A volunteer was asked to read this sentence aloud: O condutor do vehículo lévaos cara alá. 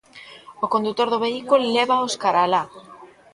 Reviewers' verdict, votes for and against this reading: accepted, 2, 0